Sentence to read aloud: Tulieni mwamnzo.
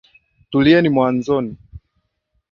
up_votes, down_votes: 2, 0